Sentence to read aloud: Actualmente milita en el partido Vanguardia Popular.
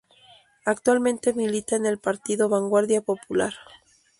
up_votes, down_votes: 0, 2